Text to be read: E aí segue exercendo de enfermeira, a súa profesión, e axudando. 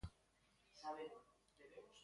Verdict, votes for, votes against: rejected, 0, 2